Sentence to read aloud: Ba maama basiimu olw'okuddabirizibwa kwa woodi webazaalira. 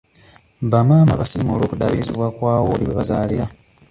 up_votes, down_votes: 2, 1